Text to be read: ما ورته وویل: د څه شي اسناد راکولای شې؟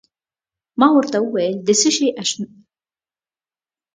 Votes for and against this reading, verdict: 0, 2, rejected